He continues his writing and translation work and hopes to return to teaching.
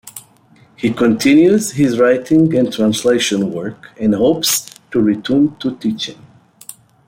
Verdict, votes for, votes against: accepted, 2, 0